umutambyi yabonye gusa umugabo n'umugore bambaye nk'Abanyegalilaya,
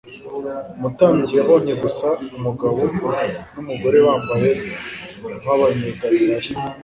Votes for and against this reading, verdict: 4, 0, accepted